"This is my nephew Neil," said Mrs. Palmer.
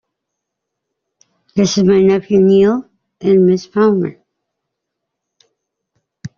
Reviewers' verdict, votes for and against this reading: rejected, 1, 2